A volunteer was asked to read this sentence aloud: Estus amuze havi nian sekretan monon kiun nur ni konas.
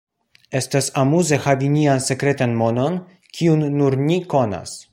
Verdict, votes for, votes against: rejected, 0, 2